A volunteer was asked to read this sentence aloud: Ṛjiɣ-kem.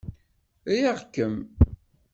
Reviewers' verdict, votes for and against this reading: rejected, 1, 2